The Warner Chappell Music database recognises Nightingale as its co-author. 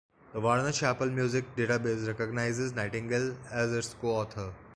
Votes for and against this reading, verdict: 1, 2, rejected